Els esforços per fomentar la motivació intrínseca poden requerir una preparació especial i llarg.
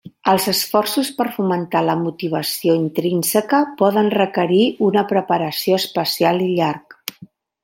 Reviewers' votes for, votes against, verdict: 3, 0, accepted